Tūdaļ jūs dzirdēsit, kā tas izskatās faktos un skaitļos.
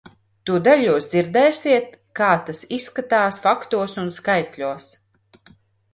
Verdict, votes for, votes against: rejected, 0, 2